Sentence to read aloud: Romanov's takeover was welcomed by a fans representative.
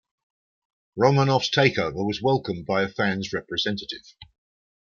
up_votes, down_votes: 2, 0